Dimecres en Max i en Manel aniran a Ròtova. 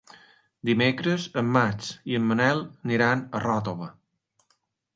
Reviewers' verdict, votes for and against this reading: accepted, 4, 0